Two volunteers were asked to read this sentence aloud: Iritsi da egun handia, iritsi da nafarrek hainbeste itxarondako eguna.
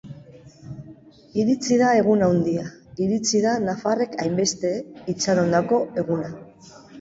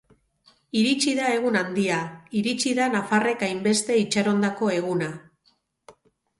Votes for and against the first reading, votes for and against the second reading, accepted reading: 1, 2, 4, 0, second